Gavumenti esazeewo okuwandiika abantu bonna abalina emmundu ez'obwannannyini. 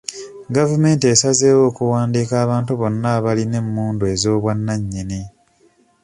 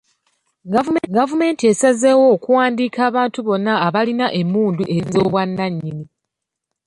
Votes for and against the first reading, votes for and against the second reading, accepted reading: 2, 0, 0, 2, first